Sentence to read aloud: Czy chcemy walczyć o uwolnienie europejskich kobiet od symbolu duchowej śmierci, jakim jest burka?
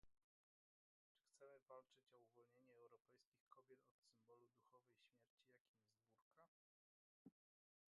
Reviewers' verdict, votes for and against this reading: rejected, 0, 2